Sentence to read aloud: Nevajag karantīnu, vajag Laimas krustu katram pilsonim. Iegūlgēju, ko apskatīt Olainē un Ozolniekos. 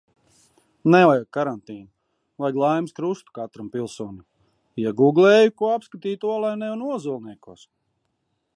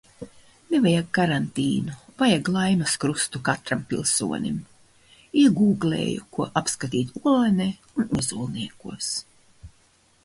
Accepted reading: second